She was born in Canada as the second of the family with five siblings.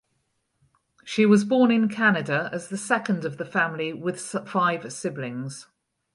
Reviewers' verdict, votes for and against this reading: rejected, 0, 2